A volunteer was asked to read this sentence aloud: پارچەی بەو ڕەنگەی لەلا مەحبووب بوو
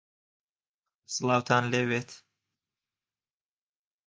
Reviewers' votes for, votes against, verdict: 0, 2, rejected